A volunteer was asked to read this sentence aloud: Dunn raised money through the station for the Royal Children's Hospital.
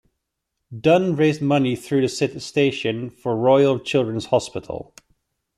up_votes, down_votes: 1, 2